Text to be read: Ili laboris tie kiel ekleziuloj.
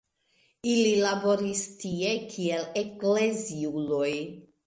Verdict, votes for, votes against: accepted, 2, 1